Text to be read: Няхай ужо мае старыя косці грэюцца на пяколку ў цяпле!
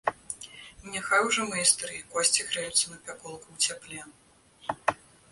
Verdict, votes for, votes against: accepted, 2, 0